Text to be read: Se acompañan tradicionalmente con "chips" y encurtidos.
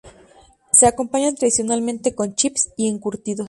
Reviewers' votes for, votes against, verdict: 2, 0, accepted